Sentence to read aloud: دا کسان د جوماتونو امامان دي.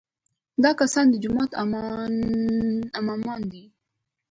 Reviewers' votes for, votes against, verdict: 0, 2, rejected